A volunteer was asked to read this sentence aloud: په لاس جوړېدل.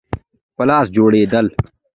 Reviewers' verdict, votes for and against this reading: accepted, 2, 1